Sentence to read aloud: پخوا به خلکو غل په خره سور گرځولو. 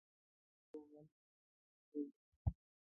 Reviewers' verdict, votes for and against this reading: rejected, 1, 2